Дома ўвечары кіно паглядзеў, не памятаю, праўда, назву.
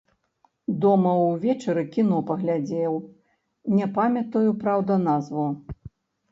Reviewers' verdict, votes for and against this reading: rejected, 1, 2